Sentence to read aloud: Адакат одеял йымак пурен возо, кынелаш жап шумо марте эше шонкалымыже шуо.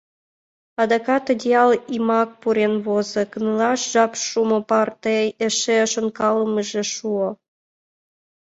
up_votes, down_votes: 2, 1